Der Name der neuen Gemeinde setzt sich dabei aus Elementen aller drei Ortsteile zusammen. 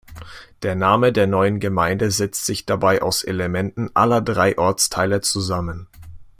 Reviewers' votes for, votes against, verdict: 2, 0, accepted